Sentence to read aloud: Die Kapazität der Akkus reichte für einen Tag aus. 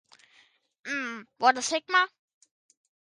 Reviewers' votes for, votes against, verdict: 0, 2, rejected